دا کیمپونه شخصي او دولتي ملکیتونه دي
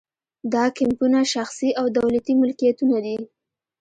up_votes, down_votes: 2, 0